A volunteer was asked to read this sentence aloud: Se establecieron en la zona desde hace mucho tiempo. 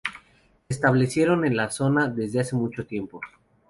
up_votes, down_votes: 2, 2